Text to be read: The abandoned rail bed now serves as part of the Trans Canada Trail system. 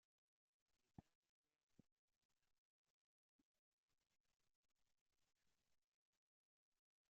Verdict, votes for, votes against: rejected, 0, 2